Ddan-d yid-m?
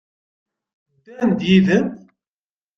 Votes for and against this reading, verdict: 1, 2, rejected